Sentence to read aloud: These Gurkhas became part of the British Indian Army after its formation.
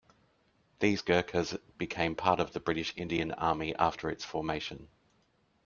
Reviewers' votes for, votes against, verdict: 2, 0, accepted